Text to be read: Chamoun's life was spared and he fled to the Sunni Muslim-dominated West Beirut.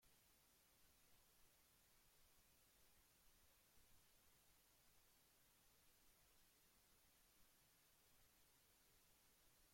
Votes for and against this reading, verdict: 0, 2, rejected